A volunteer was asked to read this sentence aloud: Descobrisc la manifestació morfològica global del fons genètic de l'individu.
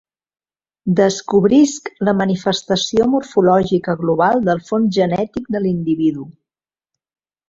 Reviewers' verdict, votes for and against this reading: rejected, 1, 2